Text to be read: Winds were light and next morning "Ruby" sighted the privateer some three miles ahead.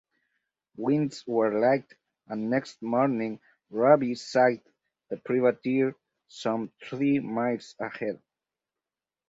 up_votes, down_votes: 0, 4